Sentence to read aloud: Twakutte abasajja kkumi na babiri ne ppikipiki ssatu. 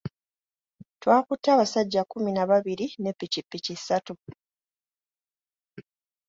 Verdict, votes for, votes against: accepted, 3, 0